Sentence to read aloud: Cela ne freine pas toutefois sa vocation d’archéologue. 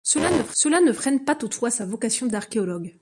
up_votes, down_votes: 1, 2